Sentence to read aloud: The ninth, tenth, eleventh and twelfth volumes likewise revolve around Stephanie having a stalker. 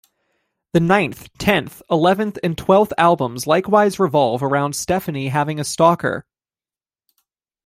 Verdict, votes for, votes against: rejected, 0, 2